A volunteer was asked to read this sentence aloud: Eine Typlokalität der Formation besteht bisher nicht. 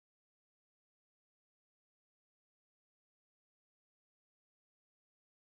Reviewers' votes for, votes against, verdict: 0, 4, rejected